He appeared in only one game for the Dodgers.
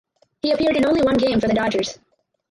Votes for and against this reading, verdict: 2, 6, rejected